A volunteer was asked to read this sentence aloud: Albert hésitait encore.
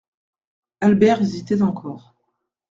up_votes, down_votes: 2, 0